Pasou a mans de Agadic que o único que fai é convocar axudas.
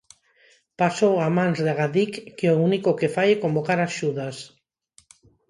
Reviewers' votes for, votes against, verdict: 4, 0, accepted